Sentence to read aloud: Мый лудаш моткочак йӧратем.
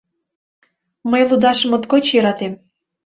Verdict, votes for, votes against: rejected, 1, 2